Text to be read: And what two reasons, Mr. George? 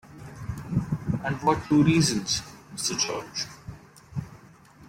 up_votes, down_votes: 2, 1